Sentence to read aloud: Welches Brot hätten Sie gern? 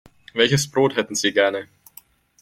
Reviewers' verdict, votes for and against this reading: rejected, 0, 2